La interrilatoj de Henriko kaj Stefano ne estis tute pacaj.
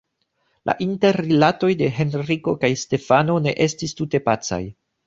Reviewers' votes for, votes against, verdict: 1, 2, rejected